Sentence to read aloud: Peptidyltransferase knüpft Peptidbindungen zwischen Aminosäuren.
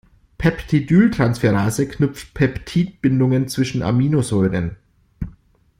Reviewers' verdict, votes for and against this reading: accepted, 2, 0